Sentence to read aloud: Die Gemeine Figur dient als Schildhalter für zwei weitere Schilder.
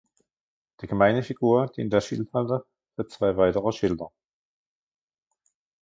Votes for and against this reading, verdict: 0, 2, rejected